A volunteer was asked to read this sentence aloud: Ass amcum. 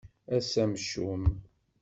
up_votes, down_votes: 2, 0